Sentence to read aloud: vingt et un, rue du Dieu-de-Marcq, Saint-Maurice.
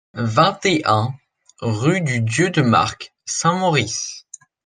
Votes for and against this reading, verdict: 2, 0, accepted